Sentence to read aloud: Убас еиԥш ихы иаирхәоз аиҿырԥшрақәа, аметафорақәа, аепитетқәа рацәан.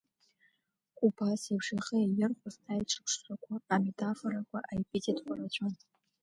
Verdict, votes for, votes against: accepted, 2, 1